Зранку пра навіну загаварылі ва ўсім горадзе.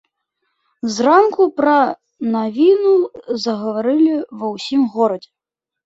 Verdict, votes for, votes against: accepted, 2, 0